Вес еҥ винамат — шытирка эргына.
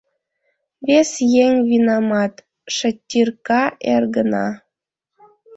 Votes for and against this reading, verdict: 1, 2, rejected